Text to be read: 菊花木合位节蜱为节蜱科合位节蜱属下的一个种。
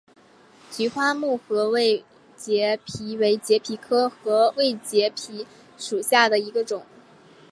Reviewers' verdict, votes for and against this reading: accepted, 2, 0